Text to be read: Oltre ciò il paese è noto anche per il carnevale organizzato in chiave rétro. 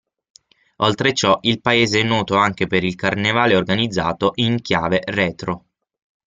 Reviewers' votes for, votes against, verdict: 0, 6, rejected